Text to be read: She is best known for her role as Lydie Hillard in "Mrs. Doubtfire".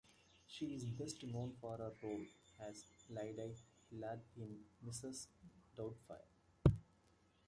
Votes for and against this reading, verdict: 0, 2, rejected